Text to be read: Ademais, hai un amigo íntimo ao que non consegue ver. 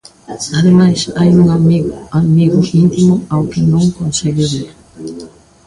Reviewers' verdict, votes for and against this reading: rejected, 0, 2